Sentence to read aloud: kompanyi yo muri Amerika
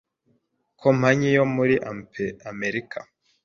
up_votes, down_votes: 1, 2